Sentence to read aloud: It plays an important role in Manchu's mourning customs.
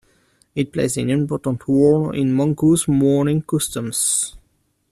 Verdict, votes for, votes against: accepted, 2, 0